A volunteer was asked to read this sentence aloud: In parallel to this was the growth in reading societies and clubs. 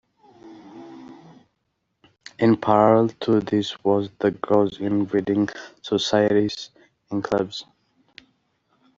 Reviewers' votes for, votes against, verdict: 2, 0, accepted